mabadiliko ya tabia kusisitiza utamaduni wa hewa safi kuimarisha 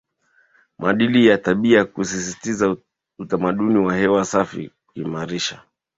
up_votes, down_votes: 0, 2